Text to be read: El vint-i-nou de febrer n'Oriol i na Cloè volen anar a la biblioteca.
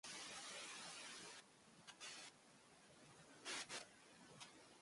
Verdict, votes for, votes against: rejected, 0, 3